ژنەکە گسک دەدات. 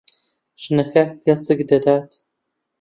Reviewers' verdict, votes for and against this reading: rejected, 0, 2